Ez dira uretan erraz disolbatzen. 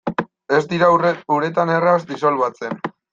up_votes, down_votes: 0, 2